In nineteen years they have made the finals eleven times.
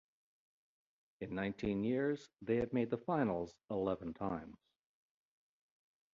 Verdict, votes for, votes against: rejected, 1, 2